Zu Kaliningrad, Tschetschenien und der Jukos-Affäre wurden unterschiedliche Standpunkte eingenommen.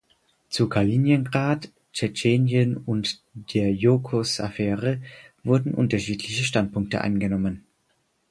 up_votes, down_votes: 2, 4